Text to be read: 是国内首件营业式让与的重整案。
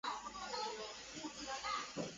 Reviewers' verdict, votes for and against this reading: rejected, 0, 3